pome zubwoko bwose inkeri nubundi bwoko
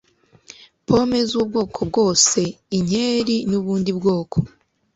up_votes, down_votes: 2, 0